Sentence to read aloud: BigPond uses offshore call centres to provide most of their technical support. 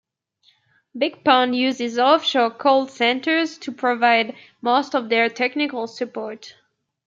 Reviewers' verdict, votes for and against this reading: accepted, 2, 0